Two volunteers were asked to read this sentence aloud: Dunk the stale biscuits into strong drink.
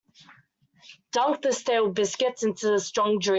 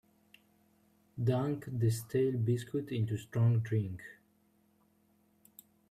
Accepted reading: second